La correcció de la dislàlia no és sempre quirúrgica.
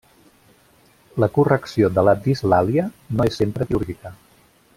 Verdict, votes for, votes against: rejected, 0, 2